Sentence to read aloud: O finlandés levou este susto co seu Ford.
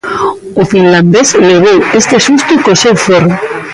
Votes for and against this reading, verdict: 0, 2, rejected